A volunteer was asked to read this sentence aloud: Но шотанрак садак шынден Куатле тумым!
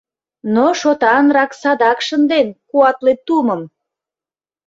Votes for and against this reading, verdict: 2, 0, accepted